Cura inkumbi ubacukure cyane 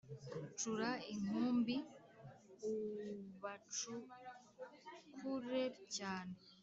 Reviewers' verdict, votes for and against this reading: rejected, 1, 2